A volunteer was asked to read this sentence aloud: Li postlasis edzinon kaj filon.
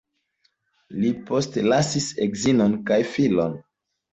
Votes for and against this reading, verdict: 2, 0, accepted